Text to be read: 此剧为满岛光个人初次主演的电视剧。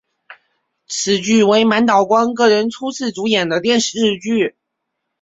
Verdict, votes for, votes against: accepted, 3, 0